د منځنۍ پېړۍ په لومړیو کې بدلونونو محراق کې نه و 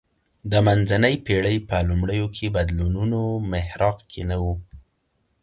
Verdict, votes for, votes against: accepted, 2, 1